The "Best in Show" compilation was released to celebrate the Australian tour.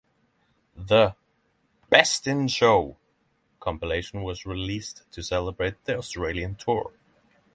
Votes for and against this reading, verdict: 6, 0, accepted